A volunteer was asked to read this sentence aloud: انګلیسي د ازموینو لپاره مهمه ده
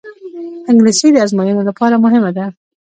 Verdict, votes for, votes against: rejected, 1, 2